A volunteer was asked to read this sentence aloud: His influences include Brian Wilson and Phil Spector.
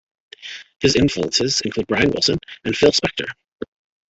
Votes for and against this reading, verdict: 1, 2, rejected